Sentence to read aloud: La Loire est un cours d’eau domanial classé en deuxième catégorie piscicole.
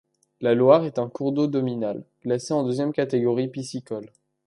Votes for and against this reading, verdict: 1, 2, rejected